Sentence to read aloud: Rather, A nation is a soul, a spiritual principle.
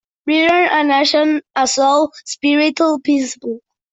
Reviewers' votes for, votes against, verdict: 0, 2, rejected